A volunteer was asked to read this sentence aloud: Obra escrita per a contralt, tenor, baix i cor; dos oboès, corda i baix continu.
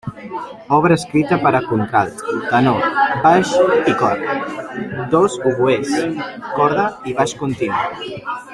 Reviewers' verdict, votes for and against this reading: rejected, 1, 2